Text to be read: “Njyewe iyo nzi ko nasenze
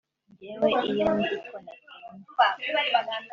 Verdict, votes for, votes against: rejected, 1, 2